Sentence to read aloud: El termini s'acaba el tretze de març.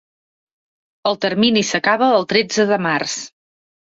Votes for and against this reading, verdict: 3, 0, accepted